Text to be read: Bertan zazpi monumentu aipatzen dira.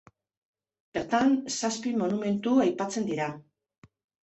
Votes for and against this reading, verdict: 2, 0, accepted